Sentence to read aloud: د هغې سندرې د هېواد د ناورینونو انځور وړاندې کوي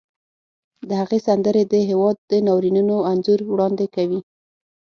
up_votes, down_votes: 6, 0